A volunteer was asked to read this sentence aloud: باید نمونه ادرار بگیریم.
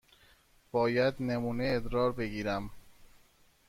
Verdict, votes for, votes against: rejected, 1, 2